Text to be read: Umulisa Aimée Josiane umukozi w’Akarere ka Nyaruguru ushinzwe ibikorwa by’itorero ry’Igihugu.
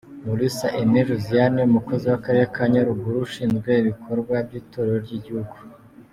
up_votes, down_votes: 2, 0